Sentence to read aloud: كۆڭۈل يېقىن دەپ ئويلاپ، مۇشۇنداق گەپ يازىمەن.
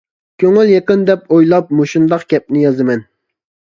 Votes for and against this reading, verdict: 0, 2, rejected